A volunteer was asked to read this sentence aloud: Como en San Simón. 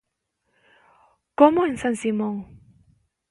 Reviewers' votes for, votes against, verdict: 2, 0, accepted